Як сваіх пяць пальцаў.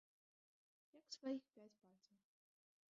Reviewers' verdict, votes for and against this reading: rejected, 1, 2